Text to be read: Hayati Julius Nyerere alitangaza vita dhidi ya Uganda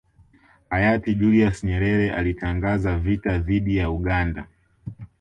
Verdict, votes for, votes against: accepted, 2, 0